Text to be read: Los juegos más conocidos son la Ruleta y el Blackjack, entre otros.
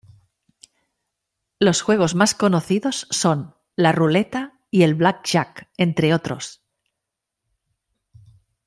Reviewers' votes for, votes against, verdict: 2, 0, accepted